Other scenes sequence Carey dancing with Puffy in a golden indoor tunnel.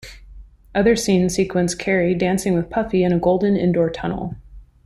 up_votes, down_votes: 2, 0